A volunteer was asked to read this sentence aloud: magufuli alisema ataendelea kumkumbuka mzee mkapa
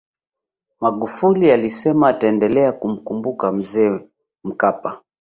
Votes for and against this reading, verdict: 2, 0, accepted